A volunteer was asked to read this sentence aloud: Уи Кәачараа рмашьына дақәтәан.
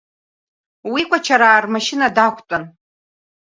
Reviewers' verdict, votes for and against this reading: accepted, 2, 0